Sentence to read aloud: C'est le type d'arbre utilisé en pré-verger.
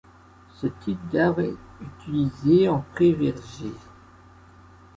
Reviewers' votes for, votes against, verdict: 2, 1, accepted